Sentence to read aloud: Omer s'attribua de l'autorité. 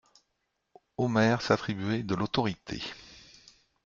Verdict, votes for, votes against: rejected, 0, 2